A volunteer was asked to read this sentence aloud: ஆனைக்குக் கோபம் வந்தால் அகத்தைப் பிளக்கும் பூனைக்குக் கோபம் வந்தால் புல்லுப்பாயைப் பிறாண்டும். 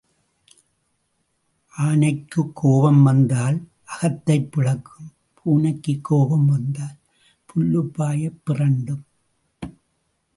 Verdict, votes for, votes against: accepted, 3, 1